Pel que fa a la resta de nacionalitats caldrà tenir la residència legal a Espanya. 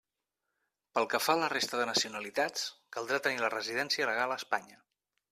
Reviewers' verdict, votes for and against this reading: accepted, 2, 0